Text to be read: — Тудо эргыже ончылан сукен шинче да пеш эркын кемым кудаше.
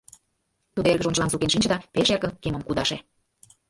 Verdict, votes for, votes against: rejected, 0, 2